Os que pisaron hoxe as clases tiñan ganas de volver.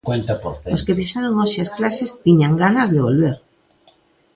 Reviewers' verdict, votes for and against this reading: accepted, 2, 0